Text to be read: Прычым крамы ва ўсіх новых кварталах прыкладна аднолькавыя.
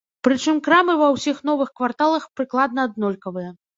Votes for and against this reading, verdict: 0, 2, rejected